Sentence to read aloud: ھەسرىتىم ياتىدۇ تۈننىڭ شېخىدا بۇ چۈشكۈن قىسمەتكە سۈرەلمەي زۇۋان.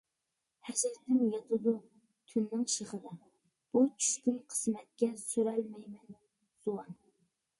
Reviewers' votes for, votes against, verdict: 0, 2, rejected